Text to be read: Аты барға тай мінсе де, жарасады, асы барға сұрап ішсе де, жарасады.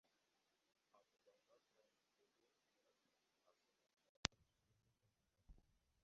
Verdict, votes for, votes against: rejected, 0, 2